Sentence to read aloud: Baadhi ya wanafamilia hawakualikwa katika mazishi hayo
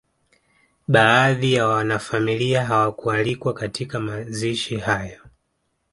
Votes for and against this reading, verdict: 2, 0, accepted